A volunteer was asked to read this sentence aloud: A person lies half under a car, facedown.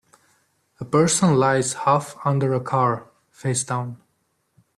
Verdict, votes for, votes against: accepted, 2, 0